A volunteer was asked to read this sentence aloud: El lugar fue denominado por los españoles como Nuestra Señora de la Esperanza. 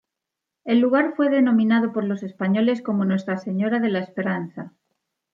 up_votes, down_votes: 2, 0